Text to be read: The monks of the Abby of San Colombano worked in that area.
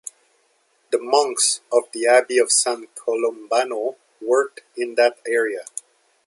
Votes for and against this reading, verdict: 2, 0, accepted